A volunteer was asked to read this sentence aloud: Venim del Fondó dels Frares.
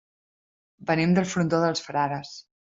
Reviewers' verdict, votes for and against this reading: rejected, 1, 2